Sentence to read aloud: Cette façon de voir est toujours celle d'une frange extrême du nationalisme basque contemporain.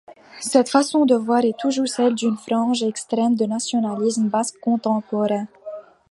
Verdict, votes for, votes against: accepted, 2, 0